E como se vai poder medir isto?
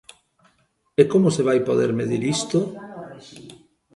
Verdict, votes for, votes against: rejected, 1, 2